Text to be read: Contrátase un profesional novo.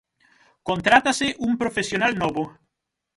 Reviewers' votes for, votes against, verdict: 6, 3, accepted